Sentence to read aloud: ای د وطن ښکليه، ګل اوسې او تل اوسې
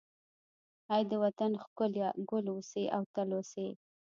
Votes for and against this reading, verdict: 3, 2, accepted